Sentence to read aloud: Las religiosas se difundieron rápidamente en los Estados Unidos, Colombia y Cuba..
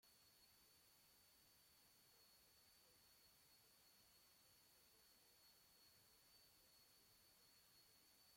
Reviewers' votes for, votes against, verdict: 0, 2, rejected